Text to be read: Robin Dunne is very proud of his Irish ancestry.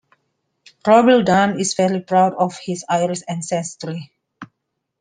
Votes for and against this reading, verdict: 0, 3, rejected